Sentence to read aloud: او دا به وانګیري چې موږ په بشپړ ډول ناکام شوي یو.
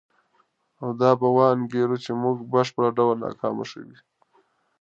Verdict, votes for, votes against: accepted, 4, 0